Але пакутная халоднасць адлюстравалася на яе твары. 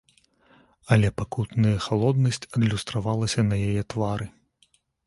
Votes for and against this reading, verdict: 2, 0, accepted